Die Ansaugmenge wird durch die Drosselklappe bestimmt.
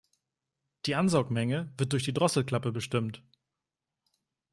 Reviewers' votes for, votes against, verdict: 2, 0, accepted